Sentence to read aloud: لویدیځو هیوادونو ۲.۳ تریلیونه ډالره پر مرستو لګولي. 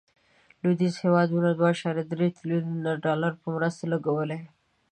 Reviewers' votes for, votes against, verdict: 0, 2, rejected